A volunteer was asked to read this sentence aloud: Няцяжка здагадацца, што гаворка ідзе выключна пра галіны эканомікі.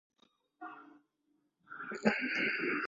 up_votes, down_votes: 0, 2